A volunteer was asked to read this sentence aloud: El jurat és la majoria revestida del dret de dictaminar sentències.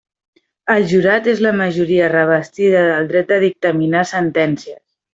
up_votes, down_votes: 2, 0